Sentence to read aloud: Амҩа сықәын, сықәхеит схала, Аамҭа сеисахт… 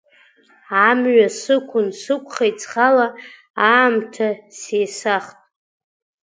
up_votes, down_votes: 1, 2